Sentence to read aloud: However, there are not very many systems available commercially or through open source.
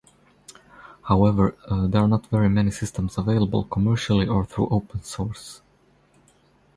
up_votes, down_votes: 2, 2